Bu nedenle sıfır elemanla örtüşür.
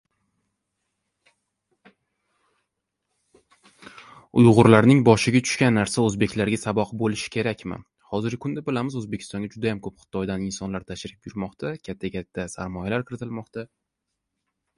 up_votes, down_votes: 0, 2